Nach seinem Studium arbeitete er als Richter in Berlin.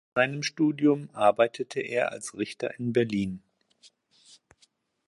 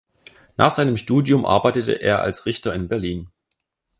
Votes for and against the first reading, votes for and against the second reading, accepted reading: 0, 2, 2, 0, second